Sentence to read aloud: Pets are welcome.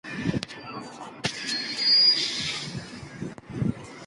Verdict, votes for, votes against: rejected, 0, 2